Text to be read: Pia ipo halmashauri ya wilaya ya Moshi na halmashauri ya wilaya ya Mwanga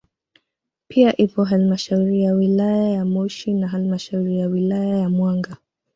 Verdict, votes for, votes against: accepted, 2, 0